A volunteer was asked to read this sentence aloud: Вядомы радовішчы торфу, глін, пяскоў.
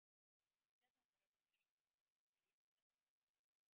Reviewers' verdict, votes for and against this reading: rejected, 0, 2